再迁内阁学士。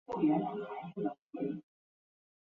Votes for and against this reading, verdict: 1, 5, rejected